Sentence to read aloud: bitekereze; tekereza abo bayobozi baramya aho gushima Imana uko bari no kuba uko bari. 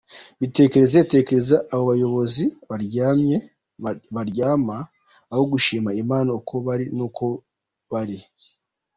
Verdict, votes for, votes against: rejected, 0, 2